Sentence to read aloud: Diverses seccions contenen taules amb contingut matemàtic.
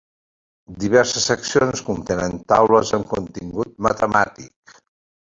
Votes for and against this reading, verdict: 2, 0, accepted